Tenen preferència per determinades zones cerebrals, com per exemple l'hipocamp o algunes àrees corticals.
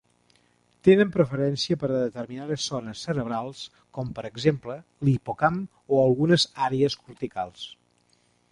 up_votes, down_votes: 2, 0